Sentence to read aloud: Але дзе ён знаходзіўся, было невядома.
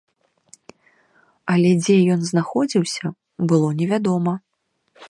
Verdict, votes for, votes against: accepted, 2, 0